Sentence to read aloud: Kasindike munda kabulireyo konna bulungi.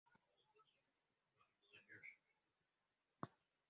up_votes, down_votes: 0, 3